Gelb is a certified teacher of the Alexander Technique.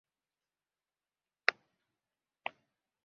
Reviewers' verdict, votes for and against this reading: rejected, 0, 2